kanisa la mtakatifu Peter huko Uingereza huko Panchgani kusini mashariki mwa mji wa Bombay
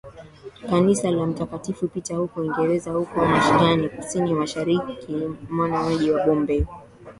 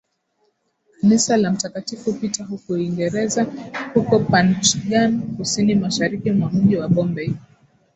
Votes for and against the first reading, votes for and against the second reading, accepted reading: 1, 2, 6, 0, second